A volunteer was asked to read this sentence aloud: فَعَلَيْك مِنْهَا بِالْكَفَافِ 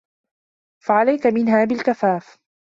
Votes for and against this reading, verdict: 2, 0, accepted